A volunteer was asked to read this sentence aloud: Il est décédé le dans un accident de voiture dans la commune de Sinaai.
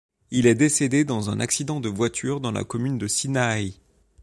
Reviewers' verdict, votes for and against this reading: rejected, 0, 2